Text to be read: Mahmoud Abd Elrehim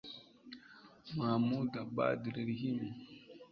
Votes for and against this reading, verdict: 1, 2, rejected